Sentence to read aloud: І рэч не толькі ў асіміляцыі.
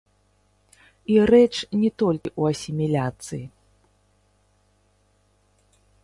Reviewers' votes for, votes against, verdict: 0, 3, rejected